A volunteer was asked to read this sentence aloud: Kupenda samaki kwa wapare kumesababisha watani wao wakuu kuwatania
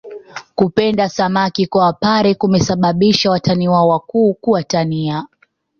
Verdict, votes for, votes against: accepted, 4, 1